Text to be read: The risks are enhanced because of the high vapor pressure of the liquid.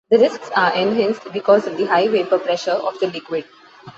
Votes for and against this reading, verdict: 2, 0, accepted